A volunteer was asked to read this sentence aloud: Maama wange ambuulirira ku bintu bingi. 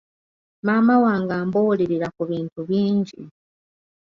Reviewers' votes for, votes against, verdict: 2, 0, accepted